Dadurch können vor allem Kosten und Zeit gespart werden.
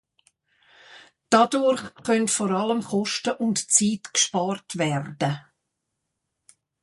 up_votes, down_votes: 0, 2